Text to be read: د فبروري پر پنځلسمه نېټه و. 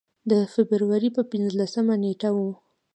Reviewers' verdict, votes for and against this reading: accepted, 2, 0